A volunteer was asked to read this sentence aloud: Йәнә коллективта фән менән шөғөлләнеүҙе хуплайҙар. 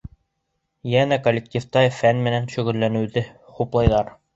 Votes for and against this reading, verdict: 2, 0, accepted